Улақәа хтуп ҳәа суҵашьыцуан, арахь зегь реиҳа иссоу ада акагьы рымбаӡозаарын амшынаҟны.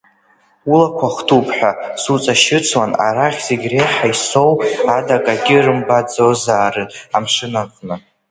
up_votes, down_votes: 2, 1